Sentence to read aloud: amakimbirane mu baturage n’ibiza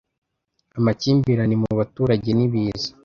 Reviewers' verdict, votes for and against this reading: accepted, 2, 0